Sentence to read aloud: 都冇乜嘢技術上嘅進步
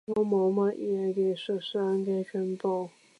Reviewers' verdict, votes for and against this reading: rejected, 0, 2